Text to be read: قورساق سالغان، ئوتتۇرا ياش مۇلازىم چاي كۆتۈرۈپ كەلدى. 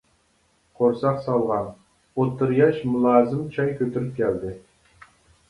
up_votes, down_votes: 2, 0